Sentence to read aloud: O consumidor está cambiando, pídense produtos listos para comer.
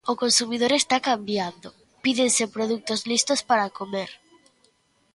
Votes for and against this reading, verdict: 2, 0, accepted